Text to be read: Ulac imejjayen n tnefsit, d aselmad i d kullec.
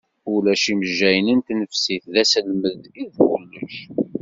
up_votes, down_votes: 2, 0